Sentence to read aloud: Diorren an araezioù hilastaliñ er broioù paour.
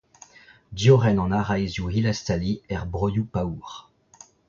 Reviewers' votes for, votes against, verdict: 2, 1, accepted